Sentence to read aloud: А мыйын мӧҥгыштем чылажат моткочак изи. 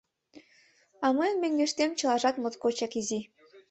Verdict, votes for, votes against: accepted, 2, 0